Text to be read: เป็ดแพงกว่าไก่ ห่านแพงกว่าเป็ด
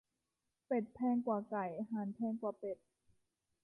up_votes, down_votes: 2, 1